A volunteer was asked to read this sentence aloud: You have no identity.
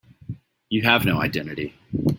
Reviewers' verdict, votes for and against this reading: accepted, 2, 0